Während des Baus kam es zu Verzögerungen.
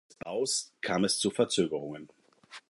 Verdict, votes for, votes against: rejected, 2, 4